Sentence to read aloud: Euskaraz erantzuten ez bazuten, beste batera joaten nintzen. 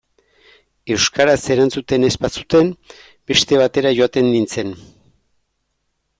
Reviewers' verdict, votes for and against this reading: accepted, 2, 0